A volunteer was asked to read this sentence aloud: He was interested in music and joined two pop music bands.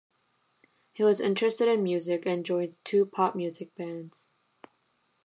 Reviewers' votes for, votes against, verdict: 2, 0, accepted